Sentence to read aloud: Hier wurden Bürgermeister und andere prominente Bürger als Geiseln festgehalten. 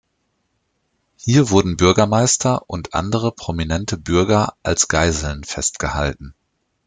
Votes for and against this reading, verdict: 2, 0, accepted